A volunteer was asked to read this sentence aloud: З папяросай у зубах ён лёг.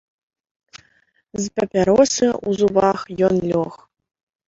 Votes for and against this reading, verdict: 0, 2, rejected